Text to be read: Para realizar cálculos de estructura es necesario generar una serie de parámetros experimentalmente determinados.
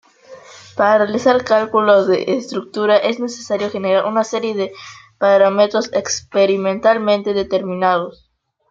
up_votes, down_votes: 2, 0